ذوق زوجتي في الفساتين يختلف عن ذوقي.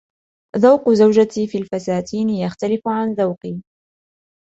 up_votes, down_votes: 2, 0